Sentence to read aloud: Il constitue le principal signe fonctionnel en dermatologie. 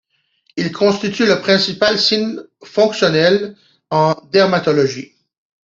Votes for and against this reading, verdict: 2, 1, accepted